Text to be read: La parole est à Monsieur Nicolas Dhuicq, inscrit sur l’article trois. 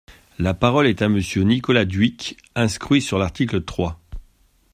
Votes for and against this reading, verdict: 0, 2, rejected